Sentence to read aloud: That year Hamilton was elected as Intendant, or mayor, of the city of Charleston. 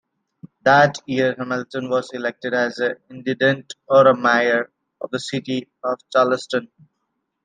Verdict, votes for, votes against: rejected, 1, 2